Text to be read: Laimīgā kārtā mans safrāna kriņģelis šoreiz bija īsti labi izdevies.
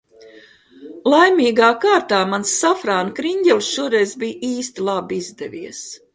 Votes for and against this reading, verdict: 2, 0, accepted